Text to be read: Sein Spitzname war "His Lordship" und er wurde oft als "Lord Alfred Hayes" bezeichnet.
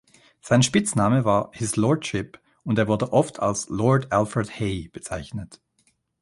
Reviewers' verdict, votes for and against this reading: rejected, 0, 2